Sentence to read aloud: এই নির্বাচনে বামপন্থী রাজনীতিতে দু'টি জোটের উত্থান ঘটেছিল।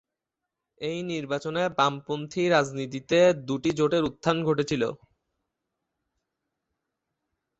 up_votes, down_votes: 1, 2